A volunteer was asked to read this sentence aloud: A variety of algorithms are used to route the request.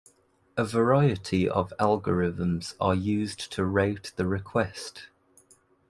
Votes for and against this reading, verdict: 0, 2, rejected